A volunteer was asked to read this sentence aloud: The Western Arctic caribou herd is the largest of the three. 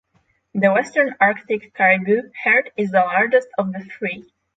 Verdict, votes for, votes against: accepted, 6, 0